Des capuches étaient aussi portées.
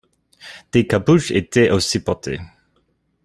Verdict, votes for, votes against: accepted, 2, 0